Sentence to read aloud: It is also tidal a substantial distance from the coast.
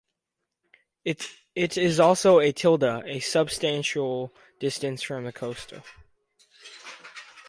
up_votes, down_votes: 0, 4